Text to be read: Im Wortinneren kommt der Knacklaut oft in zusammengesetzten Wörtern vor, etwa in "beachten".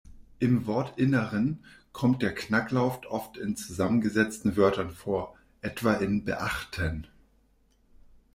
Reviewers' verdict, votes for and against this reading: rejected, 0, 2